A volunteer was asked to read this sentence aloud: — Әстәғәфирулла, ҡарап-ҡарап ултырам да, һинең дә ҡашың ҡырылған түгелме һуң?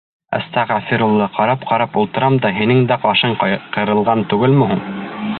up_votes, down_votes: 2, 0